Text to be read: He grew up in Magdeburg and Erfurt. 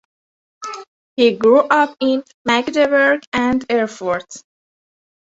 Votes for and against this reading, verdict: 2, 0, accepted